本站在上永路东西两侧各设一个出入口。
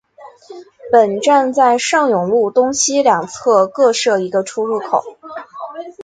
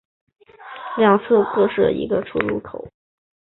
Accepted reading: first